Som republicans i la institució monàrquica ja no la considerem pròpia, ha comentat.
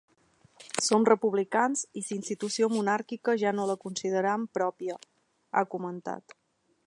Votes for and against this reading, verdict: 0, 2, rejected